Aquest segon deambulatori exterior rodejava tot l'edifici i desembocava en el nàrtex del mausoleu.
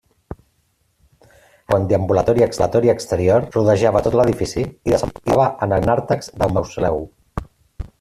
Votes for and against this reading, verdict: 0, 2, rejected